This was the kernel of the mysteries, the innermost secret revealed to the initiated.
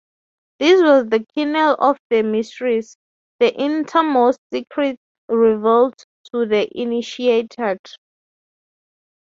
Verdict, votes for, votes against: rejected, 0, 9